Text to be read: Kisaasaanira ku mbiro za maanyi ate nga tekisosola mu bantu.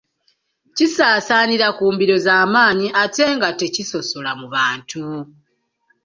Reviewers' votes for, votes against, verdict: 2, 1, accepted